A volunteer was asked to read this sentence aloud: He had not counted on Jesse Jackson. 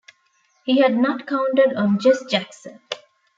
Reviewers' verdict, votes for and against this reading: rejected, 0, 2